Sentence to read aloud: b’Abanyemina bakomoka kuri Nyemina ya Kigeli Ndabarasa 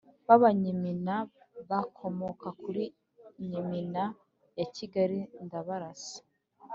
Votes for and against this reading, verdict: 0, 3, rejected